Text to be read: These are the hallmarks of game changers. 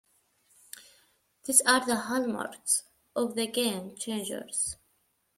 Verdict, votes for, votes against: rejected, 1, 2